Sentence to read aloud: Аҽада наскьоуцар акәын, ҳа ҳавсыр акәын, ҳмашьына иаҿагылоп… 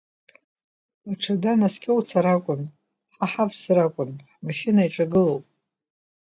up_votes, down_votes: 2, 0